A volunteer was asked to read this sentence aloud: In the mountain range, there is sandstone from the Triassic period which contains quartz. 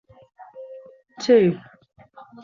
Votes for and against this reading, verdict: 0, 2, rejected